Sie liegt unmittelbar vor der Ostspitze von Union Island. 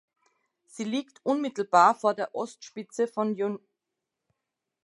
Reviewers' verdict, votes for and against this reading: rejected, 0, 2